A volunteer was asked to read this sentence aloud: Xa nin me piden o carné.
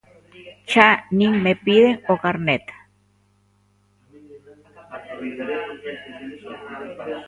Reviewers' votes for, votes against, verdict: 0, 2, rejected